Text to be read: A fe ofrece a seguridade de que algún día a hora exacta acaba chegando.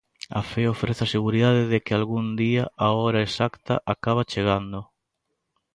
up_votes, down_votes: 2, 0